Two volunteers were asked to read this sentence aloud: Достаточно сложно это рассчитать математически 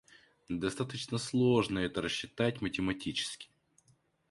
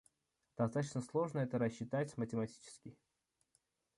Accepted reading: first